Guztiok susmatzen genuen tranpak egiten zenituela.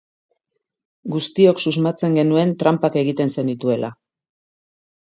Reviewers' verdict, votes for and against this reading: accepted, 2, 0